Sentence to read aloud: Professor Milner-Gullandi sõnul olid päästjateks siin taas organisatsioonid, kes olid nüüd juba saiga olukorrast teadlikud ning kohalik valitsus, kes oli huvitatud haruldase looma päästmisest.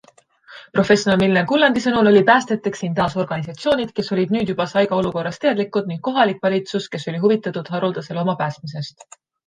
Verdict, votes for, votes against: accepted, 2, 1